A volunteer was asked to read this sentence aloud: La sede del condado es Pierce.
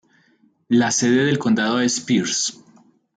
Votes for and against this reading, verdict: 2, 1, accepted